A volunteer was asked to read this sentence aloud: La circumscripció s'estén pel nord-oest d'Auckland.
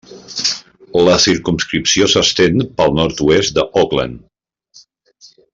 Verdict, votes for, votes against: accepted, 2, 1